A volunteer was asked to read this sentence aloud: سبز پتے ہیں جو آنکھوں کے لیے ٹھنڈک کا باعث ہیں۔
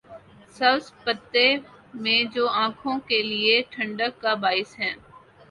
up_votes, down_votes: 0, 3